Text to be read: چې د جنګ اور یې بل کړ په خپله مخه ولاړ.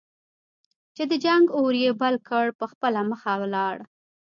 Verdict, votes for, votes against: rejected, 1, 2